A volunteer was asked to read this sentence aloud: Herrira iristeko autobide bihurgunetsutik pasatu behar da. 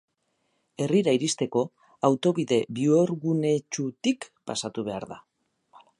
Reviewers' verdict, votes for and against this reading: rejected, 0, 2